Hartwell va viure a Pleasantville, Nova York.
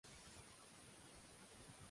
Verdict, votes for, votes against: rejected, 0, 2